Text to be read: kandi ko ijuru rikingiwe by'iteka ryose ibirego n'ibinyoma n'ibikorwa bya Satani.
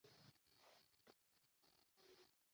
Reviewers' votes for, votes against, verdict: 0, 2, rejected